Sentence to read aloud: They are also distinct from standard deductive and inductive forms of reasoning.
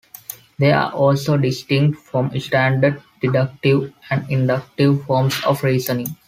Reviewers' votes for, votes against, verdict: 2, 0, accepted